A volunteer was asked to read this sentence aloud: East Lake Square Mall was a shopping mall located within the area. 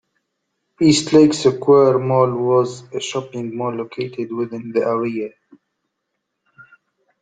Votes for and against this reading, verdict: 1, 2, rejected